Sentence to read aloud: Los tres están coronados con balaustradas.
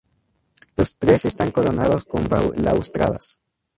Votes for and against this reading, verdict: 0, 2, rejected